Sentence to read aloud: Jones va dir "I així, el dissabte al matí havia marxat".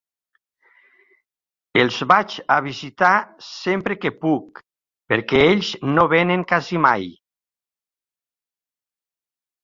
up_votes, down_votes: 0, 3